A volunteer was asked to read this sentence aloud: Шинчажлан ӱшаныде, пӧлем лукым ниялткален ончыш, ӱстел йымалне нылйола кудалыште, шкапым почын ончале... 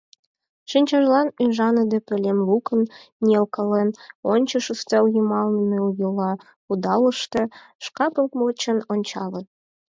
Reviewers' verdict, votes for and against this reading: accepted, 4, 0